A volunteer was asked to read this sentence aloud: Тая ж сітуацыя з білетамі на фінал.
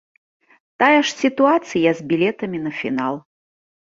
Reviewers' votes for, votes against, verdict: 2, 0, accepted